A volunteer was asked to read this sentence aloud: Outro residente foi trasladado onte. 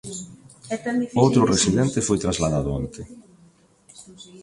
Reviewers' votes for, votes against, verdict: 0, 2, rejected